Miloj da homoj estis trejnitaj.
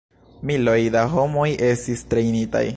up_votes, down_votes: 1, 2